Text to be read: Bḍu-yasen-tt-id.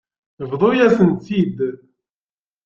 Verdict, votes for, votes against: accepted, 2, 0